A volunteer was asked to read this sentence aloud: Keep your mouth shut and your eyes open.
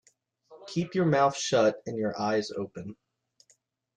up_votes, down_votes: 2, 0